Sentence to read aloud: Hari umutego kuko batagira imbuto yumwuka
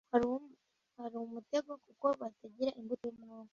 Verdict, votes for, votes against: rejected, 0, 2